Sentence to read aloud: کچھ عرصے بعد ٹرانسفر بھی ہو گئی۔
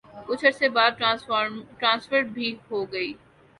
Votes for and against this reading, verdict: 1, 2, rejected